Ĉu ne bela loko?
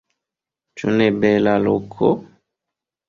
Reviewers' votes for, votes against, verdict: 2, 1, accepted